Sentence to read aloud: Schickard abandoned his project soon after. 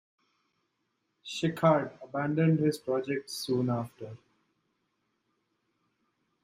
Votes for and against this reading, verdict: 2, 1, accepted